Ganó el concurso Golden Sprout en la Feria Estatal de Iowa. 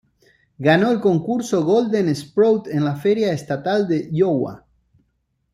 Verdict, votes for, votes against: rejected, 0, 2